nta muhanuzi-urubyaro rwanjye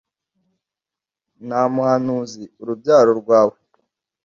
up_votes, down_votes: 1, 2